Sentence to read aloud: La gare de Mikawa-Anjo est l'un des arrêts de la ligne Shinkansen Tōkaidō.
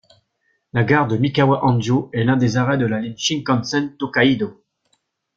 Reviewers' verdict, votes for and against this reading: accepted, 2, 0